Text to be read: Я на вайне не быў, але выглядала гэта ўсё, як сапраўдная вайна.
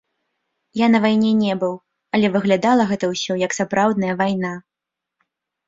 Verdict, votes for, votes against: rejected, 0, 2